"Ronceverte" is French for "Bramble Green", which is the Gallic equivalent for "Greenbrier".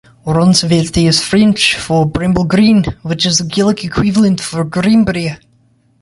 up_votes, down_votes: 2, 0